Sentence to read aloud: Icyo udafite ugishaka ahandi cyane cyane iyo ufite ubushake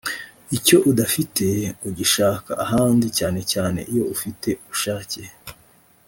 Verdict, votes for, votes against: accepted, 2, 0